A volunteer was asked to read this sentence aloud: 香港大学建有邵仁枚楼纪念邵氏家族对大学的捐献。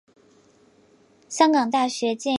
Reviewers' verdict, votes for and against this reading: rejected, 0, 3